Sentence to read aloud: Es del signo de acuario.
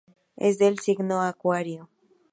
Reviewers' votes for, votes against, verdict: 0, 2, rejected